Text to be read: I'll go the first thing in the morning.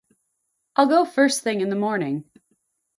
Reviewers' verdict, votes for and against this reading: rejected, 0, 4